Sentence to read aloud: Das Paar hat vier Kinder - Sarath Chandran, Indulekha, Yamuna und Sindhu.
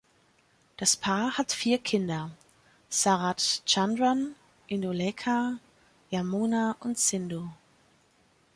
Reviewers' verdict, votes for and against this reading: rejected, 1, 2